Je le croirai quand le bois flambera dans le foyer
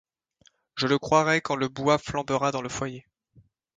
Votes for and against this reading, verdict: 2, 0, accepted